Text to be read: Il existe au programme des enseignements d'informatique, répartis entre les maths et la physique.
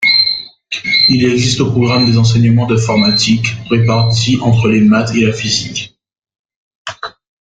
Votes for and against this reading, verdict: 1, 2, rejected